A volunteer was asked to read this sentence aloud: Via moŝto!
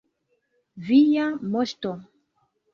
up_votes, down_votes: 3, 1